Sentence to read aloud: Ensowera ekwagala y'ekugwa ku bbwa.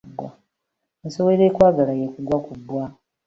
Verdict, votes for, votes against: accepted, 2, 0